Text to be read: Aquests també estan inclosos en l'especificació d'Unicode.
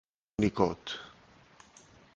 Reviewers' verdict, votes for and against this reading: rejected, 0, 2